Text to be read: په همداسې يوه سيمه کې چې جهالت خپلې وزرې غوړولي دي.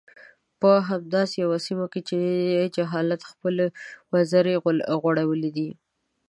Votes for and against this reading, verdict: 1, 2, rejected